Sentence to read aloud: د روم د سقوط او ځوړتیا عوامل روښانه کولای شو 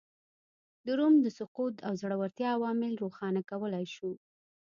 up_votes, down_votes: 1, 2